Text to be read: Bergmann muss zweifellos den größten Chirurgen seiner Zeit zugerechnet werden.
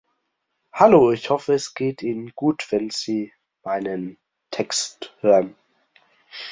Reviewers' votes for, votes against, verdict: 0, 2, rejected